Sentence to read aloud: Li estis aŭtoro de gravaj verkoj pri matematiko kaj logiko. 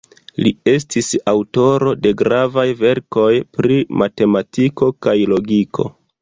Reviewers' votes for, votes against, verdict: 0, 2, rejected